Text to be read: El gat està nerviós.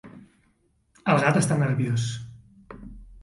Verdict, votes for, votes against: rejected, 1, 2